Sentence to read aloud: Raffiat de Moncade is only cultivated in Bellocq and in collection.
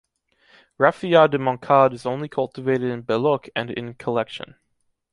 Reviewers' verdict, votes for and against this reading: accepted, 2, 0